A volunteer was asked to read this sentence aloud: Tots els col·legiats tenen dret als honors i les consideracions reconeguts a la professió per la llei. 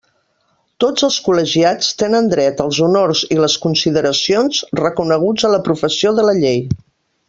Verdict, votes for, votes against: rejected, 1, 2